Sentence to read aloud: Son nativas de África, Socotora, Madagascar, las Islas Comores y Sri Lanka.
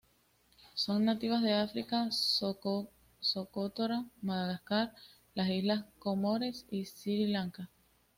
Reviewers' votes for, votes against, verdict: 2, 0, accepted